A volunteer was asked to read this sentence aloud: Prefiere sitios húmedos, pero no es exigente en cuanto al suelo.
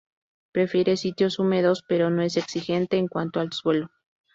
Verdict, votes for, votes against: rejected, 0, 2